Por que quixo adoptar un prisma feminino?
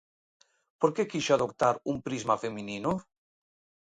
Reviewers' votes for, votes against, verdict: 2, 0, accepted